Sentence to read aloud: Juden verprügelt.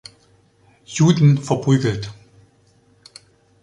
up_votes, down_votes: 2, 1